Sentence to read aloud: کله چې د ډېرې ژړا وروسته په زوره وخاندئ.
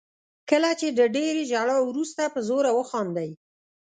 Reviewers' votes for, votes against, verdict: 2, 0, accepted